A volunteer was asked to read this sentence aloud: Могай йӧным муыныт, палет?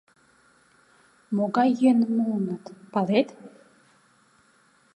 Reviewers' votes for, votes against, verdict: 2, 0, accepted